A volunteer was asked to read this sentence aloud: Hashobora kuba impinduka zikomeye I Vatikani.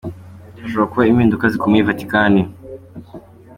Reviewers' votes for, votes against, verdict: 2, 0, accepted